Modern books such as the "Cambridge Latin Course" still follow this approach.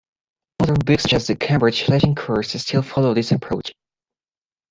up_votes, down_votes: 2, 0